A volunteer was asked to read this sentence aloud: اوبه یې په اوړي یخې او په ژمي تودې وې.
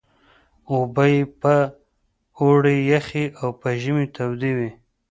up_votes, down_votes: 2, 0